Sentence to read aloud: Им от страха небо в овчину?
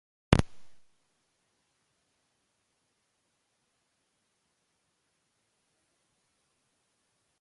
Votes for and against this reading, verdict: 0, 2, rejected